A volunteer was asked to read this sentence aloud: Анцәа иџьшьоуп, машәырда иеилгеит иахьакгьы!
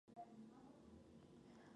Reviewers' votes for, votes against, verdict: 0, 2, rejected